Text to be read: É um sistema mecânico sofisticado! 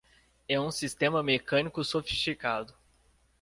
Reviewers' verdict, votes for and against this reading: accepted, 2, 0